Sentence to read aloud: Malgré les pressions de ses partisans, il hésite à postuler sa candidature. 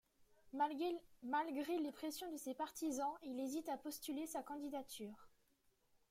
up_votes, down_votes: 1, 2